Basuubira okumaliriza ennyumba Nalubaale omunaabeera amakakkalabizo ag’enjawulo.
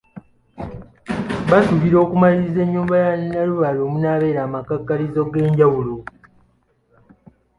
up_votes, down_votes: 2, 0